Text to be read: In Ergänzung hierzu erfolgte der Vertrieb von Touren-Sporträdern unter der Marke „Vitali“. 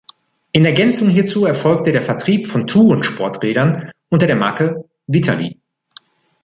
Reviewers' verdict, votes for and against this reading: accepted, 2, 0